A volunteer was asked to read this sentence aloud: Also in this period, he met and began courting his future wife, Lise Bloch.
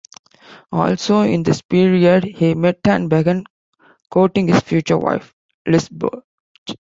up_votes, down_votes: 2, 1